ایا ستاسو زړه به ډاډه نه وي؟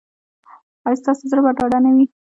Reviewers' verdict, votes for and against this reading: accepted, 2, 1